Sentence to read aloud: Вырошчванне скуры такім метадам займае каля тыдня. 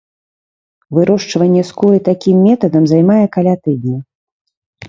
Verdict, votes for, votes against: accepted, 2, 0